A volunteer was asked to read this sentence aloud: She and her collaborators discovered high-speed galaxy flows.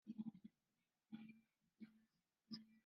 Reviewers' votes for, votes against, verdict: 0, 2, rejected